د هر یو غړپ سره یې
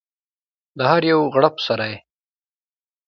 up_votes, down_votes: 2, 0